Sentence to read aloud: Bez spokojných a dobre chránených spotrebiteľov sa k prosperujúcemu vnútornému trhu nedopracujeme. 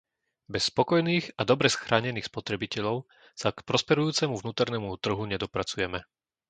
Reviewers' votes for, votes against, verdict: 0, 2, rejected